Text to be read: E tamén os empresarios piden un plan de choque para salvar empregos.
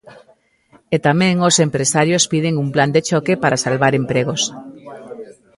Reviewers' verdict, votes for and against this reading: rejected, 1, 2